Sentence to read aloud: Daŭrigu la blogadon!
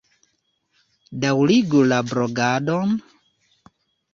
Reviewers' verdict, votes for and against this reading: accepted, 2, 0